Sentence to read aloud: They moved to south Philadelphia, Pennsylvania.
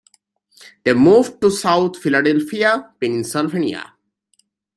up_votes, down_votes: 2, 0